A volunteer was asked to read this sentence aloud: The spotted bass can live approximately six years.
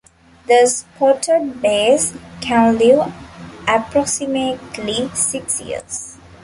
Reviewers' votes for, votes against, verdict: 0, 2, rejected